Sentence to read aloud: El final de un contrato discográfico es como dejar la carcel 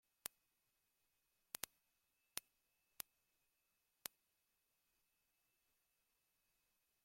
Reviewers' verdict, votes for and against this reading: rejected, 0, 2